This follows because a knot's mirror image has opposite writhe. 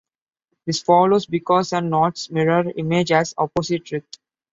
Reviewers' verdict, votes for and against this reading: accepted, 2, 1